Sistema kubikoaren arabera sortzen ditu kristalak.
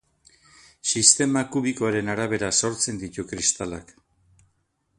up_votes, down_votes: 2, 0